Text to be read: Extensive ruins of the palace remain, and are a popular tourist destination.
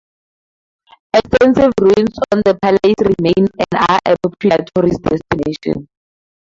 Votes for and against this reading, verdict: 2, 0, accepted